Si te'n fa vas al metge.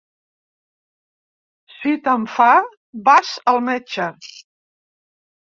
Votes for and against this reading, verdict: 3, 2, accepted